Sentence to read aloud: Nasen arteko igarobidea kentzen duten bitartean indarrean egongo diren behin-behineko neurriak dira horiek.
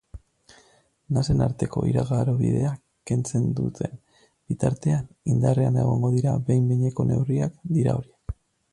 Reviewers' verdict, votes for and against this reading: rejected, 0, 2